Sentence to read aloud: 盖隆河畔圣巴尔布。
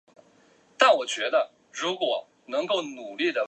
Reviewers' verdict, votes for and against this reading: rejected, 1, 2